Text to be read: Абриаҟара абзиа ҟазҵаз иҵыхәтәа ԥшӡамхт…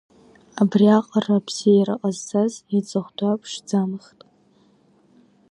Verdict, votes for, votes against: rejected, 0, 2